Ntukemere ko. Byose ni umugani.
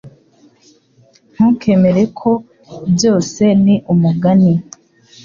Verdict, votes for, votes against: accepted, 3, 0